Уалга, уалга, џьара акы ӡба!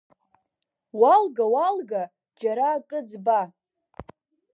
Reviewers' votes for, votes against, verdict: 1, 2, rejected